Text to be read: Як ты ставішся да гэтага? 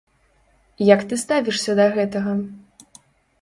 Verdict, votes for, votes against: rejected, 1, 2